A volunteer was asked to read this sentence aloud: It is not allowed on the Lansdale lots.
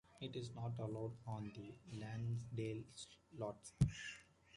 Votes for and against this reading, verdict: 0, 2, rejected